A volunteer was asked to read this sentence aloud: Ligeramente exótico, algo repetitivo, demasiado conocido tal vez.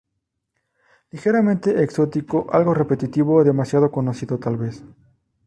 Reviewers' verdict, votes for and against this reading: rejected, 0, 2